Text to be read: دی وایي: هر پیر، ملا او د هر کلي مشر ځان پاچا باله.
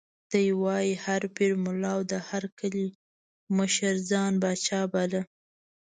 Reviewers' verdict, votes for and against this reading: rejected, 1, 2